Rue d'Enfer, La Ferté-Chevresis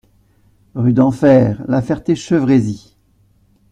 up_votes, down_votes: 3, 0